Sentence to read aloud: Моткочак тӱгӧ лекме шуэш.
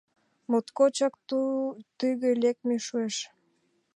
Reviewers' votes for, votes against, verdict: 1, 2, rejected